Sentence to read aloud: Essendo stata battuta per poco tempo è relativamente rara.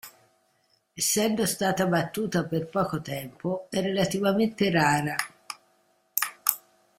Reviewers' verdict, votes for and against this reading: accepted, 2, 0